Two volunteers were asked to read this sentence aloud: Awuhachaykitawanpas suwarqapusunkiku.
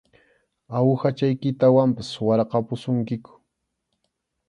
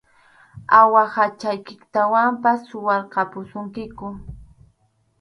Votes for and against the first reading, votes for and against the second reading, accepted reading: 2, 0, 2, 2, first